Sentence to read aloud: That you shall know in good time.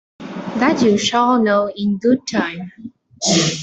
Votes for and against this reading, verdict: 1, 2, rejected